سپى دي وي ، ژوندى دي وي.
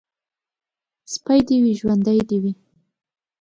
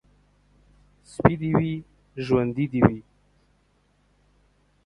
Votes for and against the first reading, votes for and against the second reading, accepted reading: 2, 0, 1, 2, first